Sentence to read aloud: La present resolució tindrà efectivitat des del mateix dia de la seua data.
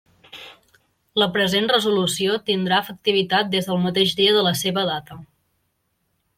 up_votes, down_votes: 0, 2